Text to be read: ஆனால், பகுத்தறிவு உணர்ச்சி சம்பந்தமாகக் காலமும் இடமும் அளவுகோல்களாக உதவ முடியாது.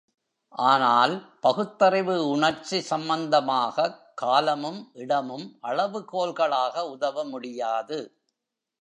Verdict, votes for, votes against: rejected, 1, 2